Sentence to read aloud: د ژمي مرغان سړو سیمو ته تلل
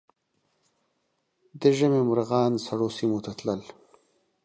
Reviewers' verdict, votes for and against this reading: accepted, 3, 0